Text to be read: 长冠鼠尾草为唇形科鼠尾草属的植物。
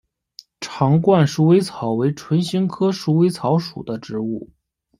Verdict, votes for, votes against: rejected, 1, 2